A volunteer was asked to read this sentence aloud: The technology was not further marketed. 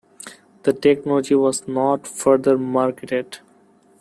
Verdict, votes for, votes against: accepted, 2, 0